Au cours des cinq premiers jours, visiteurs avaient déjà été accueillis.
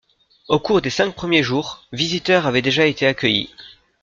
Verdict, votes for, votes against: accepted, 2, 0